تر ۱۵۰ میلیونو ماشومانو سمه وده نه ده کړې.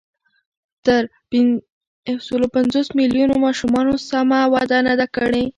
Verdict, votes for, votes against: rejected, 0, 2